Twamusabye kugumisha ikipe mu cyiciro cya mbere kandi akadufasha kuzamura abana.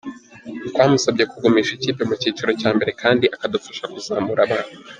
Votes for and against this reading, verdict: 2, 0, accepted